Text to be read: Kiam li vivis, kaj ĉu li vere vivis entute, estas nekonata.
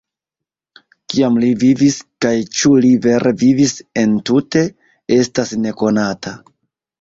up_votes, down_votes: 2, 0